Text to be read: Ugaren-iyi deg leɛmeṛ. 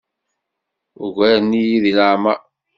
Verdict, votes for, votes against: accepted, 2, 0